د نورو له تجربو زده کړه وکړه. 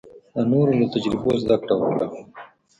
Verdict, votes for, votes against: rejected, 1, 2